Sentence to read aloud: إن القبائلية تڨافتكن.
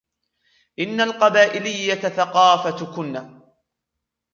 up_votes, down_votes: 1, 2